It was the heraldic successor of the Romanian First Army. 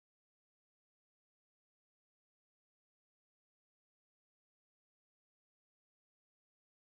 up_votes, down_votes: 0, 2